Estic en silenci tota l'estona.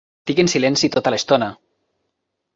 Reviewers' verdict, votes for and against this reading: rejected, 1, 2